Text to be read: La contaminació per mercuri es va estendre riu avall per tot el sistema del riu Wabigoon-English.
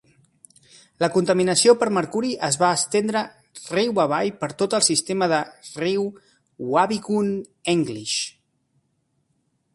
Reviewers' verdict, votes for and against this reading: rejected, 0, 2